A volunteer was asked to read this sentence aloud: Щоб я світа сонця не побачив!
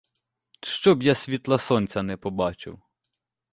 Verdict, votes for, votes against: rejected, 0, 2